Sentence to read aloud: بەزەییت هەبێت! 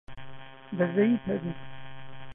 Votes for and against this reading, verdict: 0, 2, rejected